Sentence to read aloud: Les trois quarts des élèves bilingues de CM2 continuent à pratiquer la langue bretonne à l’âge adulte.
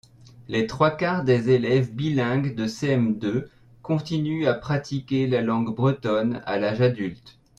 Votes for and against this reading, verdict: 0, 2, rejected